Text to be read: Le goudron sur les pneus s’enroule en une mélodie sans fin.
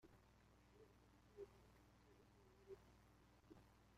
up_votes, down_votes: 0, 2